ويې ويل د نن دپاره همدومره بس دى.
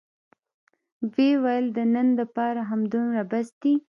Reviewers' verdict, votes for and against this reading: rejected, 1, 2